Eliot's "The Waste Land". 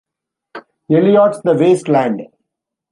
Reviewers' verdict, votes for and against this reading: accepted, 2, 1